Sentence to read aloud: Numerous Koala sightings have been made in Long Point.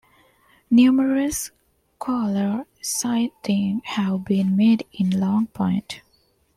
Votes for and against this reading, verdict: 1, 2, rejected